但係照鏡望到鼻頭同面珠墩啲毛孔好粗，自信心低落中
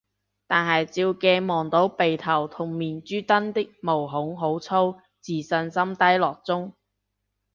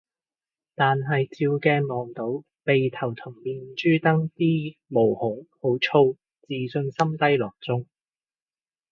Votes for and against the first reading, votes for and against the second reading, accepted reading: 1, 2, 2, 0, second